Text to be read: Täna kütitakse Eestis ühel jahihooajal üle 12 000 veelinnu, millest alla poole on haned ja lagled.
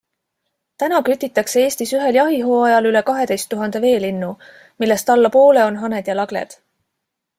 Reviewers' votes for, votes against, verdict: 0, 2, rejected